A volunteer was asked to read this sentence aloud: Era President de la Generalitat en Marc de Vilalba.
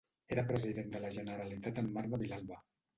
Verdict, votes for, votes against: accepted, 2, 0